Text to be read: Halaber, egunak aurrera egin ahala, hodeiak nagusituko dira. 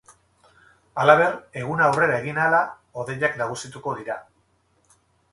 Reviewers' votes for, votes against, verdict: 2, 2, rejected